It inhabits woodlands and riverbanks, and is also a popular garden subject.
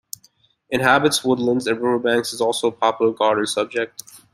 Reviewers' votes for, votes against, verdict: 1, 2, rejected